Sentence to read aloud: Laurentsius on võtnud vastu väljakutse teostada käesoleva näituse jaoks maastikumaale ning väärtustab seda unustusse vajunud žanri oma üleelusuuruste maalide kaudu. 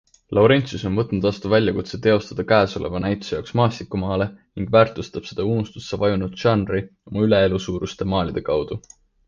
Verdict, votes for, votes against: accepted, 2, 0